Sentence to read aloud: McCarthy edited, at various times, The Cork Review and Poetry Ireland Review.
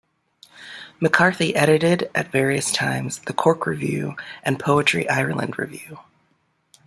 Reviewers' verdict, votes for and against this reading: accepted, 2, 1